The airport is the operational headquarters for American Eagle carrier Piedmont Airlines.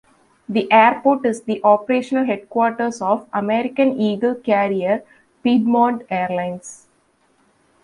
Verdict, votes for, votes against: rejected, 0, 2